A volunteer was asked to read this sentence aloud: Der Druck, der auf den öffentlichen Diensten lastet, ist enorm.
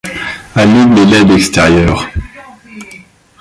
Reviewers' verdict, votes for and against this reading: rejected, 0, 2